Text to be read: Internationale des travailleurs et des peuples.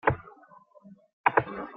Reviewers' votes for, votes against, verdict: 0, 2, rejected